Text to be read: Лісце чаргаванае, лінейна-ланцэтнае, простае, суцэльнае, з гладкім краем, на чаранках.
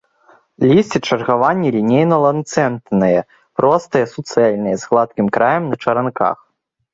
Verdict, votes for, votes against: rejected, 0, 2